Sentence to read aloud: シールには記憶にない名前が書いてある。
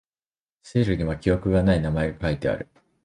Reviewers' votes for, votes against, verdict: 0, 2, rejected